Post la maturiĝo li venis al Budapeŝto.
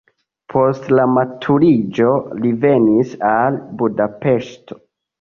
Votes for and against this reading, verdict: 2, 0, accepted